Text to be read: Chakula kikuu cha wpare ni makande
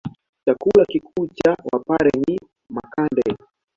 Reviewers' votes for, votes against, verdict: 0, 2, rejected